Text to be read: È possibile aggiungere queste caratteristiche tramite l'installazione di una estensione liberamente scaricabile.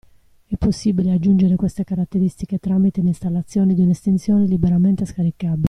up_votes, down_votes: 0, 2